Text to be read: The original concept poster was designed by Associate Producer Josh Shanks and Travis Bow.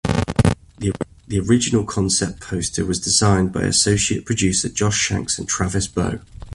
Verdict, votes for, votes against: accepted, 2, 0